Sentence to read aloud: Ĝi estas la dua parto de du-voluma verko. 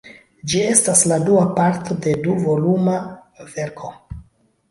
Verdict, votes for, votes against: accepted, 2, 0